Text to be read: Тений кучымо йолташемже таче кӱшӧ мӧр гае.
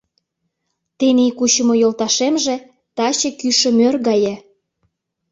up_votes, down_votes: 2, 0